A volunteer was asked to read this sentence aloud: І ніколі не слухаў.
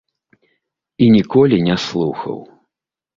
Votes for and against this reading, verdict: 2, 0, accepted